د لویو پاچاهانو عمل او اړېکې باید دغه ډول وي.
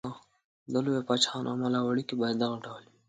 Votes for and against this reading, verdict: 2, 0, accepted